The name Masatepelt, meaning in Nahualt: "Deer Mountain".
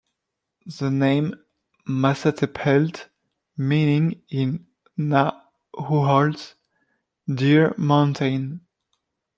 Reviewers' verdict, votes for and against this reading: rejected, 1, 2